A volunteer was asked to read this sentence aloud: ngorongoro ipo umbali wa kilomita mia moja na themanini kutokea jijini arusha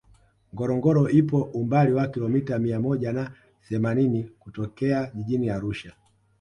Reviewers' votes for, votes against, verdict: 2, 0, accepted